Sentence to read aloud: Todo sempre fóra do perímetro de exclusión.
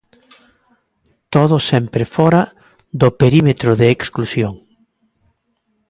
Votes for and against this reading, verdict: 2, 0, accepted